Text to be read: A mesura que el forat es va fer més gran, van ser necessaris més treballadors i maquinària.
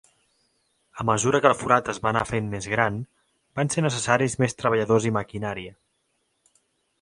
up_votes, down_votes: 1, 2